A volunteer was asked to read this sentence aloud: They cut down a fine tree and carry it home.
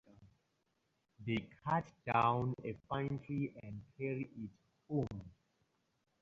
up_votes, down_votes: 4, 0